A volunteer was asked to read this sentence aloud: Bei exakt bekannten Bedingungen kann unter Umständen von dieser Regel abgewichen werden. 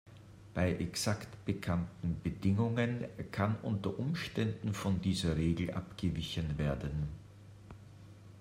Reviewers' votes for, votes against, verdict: 2, 0, accepted